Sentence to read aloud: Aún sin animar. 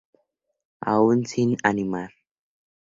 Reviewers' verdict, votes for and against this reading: accepted, 2, 0